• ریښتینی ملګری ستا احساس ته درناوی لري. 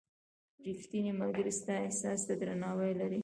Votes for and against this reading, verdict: 1, 2, rejected